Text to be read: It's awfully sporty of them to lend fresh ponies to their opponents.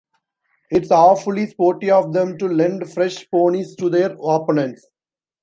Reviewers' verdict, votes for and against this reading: accepted, 2, 0